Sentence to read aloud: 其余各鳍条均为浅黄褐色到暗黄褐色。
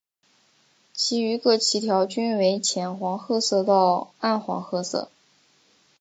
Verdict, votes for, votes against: accepted, 4, 0